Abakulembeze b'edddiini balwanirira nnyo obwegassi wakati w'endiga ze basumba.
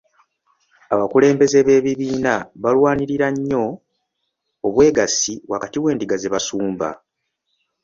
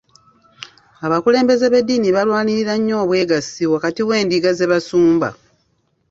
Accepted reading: second